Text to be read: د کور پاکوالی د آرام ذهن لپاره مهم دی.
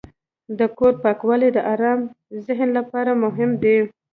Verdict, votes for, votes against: accepted, 2, 1